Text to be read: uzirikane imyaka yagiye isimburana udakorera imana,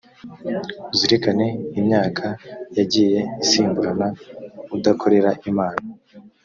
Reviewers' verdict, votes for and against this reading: accepted, 2, 0